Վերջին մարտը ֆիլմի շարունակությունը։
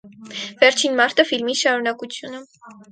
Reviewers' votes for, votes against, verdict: 4, 0, accepted